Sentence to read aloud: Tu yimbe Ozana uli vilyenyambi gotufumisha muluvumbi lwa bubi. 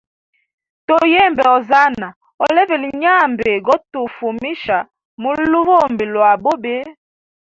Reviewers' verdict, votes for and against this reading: rejected, 2, 4